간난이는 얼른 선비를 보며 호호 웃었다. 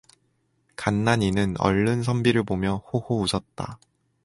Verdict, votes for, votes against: accepted, 4, 0